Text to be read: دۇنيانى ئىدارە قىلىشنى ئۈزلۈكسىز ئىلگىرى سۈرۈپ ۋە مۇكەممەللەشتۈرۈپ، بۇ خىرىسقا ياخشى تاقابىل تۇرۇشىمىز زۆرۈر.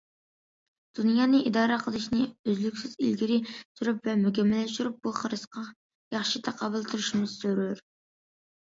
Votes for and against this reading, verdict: 2, 0, accepted